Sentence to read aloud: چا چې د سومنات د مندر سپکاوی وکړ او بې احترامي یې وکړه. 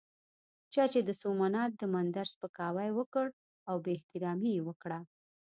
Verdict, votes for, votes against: accepted, 2, 0